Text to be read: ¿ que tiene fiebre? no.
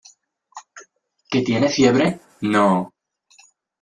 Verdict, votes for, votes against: accepted, 2, 0